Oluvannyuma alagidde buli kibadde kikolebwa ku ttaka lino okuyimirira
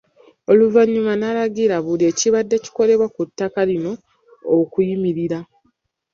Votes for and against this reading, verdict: 2, 1, accepted